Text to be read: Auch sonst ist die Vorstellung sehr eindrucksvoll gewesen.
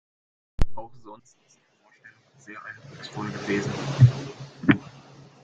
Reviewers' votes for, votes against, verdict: 0, 2, rejected